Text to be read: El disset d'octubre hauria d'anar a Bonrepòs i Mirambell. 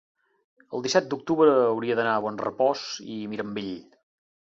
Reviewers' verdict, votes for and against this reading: rejected, 0, 2